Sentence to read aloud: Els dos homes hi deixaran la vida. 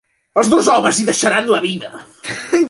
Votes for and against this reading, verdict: 3, 2, accepted